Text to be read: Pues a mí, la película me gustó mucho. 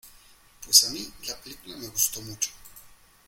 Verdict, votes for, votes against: accepted, 2, 0